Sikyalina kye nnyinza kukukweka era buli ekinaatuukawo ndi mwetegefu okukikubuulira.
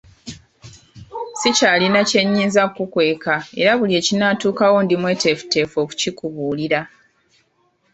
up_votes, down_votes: 0, 2